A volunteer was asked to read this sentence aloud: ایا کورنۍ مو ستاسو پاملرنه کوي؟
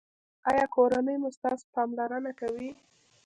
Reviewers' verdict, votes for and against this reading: accepted, 2, 0